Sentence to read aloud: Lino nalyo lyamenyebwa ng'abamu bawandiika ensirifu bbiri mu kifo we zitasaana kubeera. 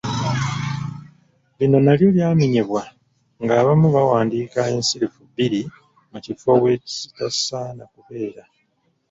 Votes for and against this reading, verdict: 0, 2, rejected